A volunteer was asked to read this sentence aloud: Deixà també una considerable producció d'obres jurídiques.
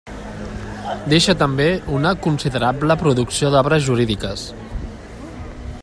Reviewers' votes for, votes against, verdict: 1, 2, rejected